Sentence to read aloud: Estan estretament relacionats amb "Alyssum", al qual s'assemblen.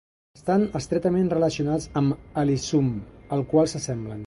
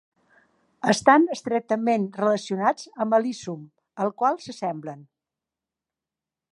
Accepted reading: second